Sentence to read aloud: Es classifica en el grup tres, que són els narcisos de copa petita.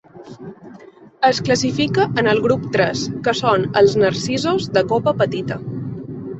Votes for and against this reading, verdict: 2, 0, accepted